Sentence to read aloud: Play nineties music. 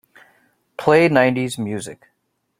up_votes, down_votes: 3, 0